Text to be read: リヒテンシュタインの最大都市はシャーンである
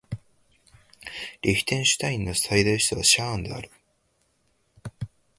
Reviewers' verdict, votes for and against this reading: accepted, 2, 1